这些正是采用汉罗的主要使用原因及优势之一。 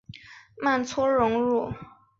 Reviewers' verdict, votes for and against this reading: rejected, 0, 3